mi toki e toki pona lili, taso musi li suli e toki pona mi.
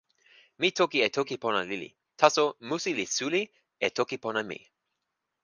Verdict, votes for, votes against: accepted, 4, 0